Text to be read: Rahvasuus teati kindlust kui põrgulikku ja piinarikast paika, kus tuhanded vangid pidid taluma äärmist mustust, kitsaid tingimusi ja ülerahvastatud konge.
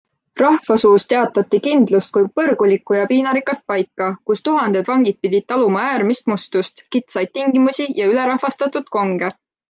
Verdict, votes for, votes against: rejected, 1, 2